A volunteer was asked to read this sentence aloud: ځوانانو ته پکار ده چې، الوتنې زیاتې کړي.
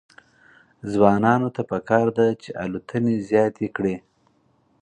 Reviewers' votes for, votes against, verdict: 4, 0, accepted